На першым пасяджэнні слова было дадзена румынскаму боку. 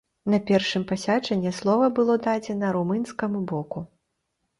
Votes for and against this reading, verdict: 1, 2, rejected